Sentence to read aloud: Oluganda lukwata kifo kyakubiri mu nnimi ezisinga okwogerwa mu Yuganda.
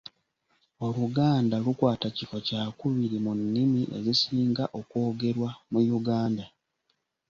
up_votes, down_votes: 2, 0